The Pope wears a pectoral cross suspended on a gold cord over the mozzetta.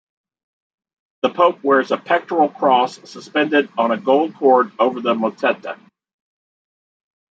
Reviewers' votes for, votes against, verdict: 2, 1, accepted